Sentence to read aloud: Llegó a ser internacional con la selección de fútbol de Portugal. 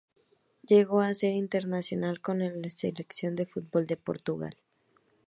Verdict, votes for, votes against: rejected, 0, 2